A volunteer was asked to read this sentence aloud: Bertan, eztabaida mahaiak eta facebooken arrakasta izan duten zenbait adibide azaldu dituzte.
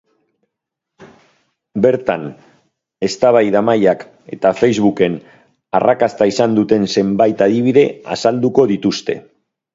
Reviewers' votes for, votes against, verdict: 0, 2, rejected